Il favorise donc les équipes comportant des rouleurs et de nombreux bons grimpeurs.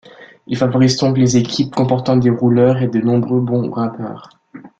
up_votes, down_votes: 1, 2